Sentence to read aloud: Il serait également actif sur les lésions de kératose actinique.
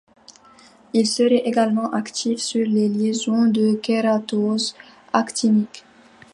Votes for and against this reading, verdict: 1, 2, rejected